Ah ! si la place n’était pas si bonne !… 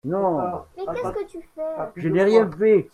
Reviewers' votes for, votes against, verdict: 0, 2, rejected